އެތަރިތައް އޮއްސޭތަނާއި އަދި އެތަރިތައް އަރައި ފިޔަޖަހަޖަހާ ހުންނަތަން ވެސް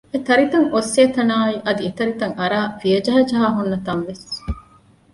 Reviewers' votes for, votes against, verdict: 1, 2, rejected